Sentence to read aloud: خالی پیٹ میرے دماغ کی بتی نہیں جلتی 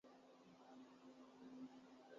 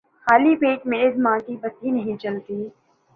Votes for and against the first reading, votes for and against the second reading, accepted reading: 0, 9, 14, 0, second